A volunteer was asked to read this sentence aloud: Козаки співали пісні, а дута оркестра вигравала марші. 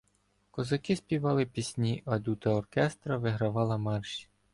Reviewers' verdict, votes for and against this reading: accepted, 2, 0